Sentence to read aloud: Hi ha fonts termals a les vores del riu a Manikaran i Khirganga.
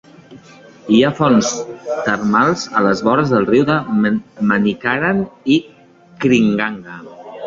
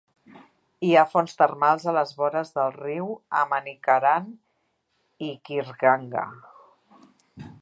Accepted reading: second